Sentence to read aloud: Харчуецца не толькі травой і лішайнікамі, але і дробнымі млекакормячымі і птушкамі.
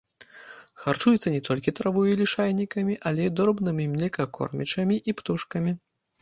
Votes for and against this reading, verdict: 2, 0, accepted